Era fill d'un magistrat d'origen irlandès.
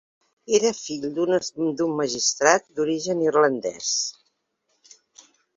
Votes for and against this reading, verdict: 1, 2, rejected